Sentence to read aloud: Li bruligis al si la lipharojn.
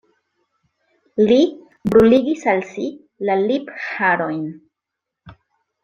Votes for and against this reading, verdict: 2, 0, accepted